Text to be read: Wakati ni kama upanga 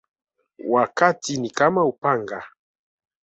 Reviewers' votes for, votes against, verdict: 2, 0, accepted